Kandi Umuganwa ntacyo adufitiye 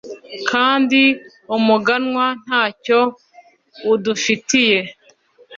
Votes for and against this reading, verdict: 1, 2, rejected